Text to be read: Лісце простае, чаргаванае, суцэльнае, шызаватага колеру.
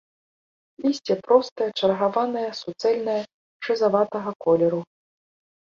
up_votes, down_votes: 2, 0